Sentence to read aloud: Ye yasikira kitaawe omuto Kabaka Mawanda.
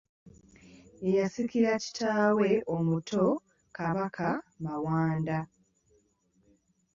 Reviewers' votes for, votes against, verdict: 2, 0, accepted